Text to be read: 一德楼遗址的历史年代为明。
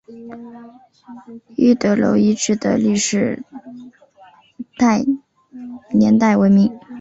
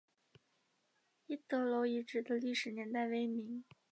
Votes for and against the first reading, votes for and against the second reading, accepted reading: 1, 3, 4, 0, second